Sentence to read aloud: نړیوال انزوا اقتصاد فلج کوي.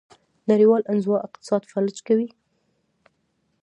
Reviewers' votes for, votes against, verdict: 2, 1, accepted